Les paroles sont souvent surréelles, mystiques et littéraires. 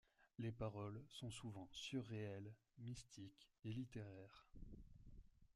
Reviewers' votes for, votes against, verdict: 0, 2, rejected